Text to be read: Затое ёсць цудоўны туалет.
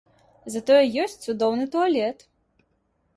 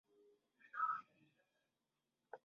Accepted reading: first